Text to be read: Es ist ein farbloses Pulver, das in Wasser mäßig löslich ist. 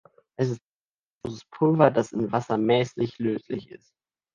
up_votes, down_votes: 0, 2